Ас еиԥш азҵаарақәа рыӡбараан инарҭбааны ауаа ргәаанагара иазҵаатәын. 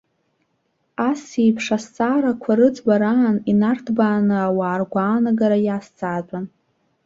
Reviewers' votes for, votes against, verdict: 1, 2, rejected